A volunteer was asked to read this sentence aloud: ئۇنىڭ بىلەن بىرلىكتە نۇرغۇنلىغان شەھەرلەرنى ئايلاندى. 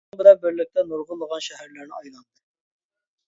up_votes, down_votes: 0, 2